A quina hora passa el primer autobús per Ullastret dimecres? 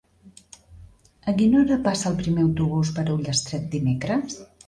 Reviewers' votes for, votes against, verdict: 3, 0, accepted